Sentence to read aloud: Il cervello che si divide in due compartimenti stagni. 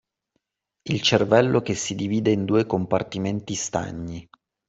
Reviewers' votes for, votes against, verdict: 2, 0, accepted